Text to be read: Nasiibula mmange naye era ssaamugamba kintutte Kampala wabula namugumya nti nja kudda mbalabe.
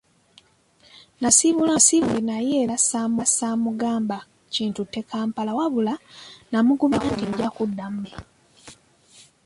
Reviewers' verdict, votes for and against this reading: accepted, 2, 0